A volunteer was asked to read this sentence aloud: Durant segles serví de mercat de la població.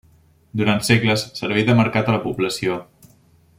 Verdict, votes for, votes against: rejected, 1, 2